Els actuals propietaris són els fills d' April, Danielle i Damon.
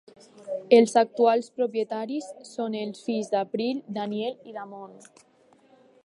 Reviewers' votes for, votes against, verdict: 2, 0, accepted